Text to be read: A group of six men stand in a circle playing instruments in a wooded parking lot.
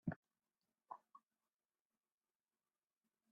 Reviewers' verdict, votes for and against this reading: rejected, 0, 2